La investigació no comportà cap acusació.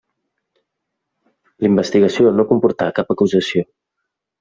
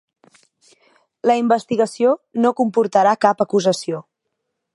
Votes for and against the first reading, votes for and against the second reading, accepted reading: 2, 0, 1, 2, first